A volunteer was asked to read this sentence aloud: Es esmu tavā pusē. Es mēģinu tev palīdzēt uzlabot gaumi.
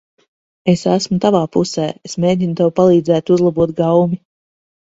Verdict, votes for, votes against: accepted, 2, 0